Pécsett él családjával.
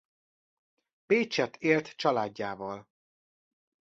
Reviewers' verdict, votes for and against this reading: rejected, 1, 2